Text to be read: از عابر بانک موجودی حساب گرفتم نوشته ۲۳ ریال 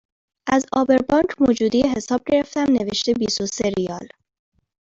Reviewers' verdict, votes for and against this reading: rejected, 0, 2